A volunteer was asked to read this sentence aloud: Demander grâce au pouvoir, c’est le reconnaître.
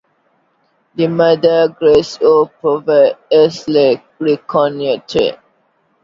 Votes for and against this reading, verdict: 1, 2, rejected